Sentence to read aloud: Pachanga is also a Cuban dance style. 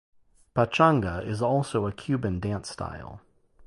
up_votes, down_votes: 4, 0